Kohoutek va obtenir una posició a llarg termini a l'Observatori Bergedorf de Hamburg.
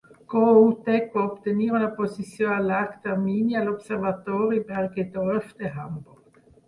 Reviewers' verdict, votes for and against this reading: rejected, 0, 6